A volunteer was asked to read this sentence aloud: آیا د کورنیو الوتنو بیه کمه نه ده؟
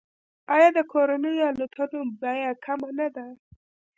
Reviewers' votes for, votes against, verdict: 2, 0, accepted